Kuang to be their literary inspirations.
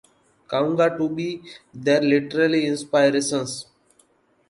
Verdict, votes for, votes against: rejected, 1, 2